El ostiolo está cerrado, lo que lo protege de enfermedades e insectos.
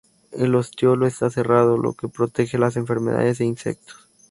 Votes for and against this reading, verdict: 0, 2, rejected